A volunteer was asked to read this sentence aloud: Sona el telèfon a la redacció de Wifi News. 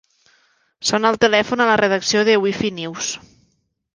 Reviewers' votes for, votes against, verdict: 2, 0, accepted